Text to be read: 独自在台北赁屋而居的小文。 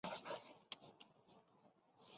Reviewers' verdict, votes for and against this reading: rejected, 0, 2